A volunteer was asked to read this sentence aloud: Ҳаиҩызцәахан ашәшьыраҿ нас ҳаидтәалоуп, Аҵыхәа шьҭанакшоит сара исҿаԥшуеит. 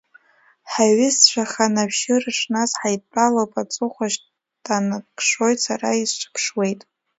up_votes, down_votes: 2, 1